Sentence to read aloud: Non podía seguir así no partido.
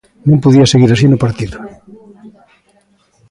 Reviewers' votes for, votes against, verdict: 2, 0, accepted